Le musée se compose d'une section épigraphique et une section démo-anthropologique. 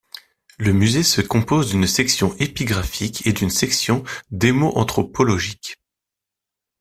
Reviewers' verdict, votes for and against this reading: accepted, 2, 0